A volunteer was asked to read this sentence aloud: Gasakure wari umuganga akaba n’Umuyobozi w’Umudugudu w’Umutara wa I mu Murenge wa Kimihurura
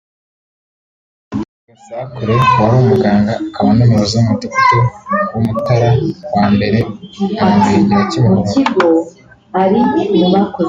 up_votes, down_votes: 0, 2